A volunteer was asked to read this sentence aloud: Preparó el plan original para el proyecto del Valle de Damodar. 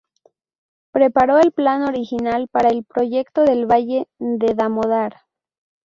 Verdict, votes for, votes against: accepted, 2, 0